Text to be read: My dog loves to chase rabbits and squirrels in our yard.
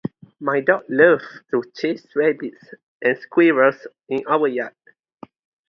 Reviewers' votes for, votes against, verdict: 2, 0, accepted